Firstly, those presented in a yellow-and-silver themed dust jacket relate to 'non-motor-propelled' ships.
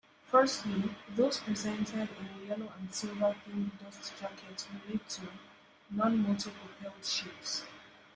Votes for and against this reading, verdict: 2, 1, accepted